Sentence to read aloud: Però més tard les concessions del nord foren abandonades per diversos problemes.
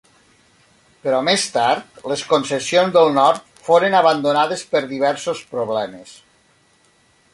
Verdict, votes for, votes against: accepted, 3, 0